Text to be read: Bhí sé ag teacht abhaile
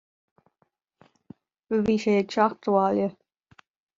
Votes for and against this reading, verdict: 2, 0, accepted